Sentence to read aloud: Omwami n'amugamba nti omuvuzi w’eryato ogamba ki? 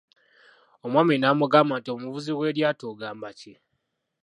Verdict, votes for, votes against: rejected, 1, 2